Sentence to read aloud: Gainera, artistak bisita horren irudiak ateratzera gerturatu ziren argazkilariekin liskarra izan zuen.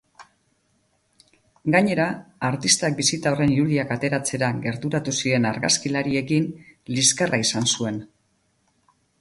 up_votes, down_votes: 2, 0